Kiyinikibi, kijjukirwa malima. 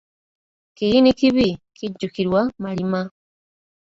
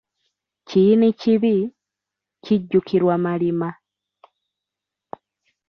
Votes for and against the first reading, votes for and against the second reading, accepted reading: 1, 2, 2, 1, second